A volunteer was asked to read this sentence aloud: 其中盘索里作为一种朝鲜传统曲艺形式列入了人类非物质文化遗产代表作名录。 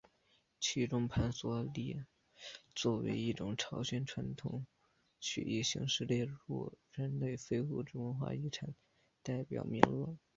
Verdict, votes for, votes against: accepted, 2, 0